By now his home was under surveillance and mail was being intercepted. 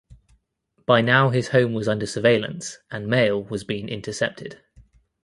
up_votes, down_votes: 2, 0